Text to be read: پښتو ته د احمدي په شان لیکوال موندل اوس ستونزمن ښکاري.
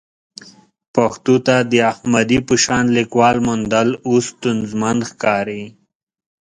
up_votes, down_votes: 4, 0